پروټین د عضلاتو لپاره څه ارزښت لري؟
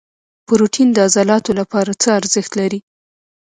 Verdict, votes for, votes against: rejected, 1, 2